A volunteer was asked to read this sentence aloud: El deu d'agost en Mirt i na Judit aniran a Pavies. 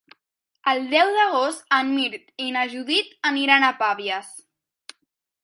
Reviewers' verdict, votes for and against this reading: accepted, 3, 0